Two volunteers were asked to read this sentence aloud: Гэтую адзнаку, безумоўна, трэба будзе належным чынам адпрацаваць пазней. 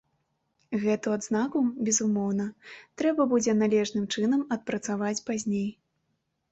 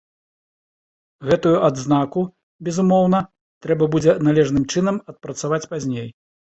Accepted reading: second